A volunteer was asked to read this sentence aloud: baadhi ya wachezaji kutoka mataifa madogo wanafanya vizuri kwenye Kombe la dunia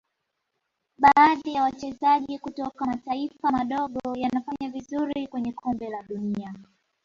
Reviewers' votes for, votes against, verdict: 2, 0, accepted